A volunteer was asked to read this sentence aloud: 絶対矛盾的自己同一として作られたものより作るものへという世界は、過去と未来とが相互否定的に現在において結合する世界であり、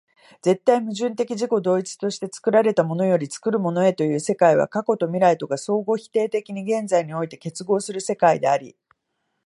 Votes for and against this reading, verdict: 4, 0, accepted